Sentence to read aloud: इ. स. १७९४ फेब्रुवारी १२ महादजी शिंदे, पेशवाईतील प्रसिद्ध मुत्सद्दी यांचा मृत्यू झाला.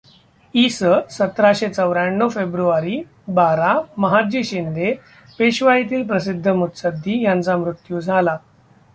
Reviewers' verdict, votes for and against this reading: rejected, 0, 2